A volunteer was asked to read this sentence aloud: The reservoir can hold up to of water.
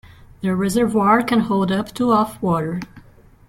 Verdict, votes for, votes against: rejected, 1, 2